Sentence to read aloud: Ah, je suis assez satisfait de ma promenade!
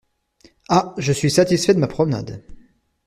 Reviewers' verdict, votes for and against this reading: rejected, 0, 2